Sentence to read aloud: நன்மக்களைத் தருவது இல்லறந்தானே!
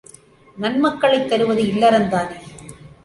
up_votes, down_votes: 2, 0